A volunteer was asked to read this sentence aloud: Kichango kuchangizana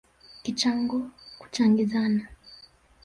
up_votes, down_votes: 1, 2